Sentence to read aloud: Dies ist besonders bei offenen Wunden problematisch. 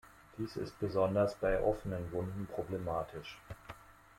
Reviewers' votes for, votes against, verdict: 2, 0, accepted